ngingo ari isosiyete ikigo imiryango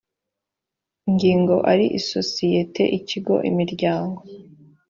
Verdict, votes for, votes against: accepted, 2, 0